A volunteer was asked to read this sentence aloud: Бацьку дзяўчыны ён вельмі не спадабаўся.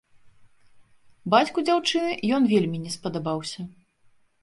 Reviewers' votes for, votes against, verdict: 2, 0, accepted